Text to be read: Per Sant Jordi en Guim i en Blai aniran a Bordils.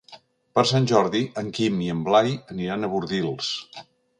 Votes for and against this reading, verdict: 2, 1, accepted